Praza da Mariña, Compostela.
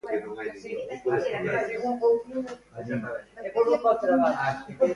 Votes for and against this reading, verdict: 0, 2, rejected